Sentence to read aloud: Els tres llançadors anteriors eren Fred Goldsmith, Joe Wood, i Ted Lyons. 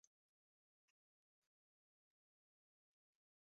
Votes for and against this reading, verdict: 0, 2, rejected